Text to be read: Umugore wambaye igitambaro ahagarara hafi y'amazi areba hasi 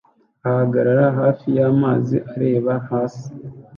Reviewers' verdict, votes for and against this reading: rejected, 0, 2